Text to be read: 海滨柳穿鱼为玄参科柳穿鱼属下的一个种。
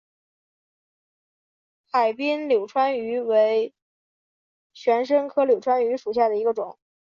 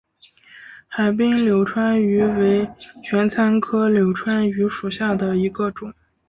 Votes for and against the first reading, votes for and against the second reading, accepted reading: 0, 2, 5, 0, second